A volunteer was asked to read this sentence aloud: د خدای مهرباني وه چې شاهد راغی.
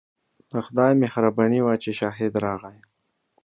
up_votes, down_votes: 2, 0